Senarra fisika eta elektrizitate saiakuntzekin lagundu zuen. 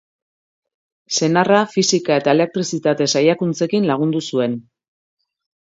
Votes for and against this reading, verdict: 2, 0, accepted